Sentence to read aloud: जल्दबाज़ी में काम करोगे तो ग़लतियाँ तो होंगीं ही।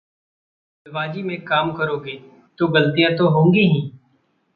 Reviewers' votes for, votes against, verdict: 0, 2, rejected